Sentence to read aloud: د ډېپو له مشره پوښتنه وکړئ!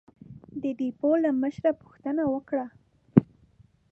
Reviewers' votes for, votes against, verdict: 0, 2, rejected